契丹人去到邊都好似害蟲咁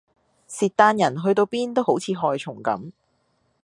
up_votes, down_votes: 2, 0